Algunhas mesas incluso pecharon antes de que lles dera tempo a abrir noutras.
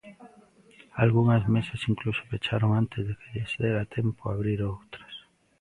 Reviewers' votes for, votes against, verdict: 0, 2, rejected